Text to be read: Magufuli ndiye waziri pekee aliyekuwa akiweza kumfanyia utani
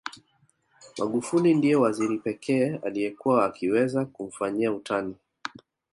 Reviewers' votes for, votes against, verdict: 2, 0, accepted